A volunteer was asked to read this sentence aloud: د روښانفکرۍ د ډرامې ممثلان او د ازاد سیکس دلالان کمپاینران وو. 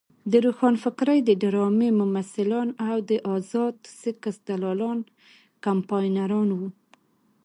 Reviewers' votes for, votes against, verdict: 2, 0, accepted